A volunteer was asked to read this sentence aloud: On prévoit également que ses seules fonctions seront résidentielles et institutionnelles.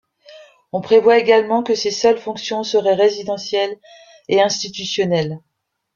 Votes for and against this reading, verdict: 1, 2, rejected